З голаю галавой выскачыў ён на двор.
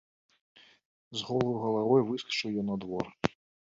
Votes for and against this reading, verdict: 1, 2, rejected